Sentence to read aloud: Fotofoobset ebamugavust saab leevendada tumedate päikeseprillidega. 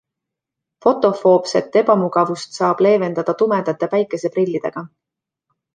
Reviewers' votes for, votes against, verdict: 2, 0, accepted